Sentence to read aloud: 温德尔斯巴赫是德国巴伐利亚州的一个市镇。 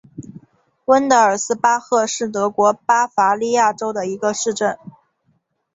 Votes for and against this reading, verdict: 0, 2, rejected